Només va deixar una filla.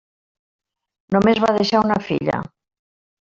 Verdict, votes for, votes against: rejected, 0, 2